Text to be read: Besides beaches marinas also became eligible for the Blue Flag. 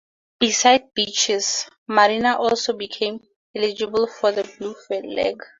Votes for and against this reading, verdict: 2, 0, accepted